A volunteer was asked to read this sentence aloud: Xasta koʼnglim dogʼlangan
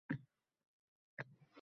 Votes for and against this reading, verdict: 0, 2, rejected